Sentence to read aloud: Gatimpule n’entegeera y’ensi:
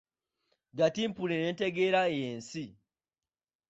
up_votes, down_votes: 3, 0